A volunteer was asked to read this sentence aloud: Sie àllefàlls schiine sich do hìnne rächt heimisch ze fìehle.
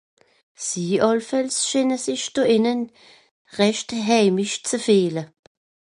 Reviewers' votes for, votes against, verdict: 2, 0, accepted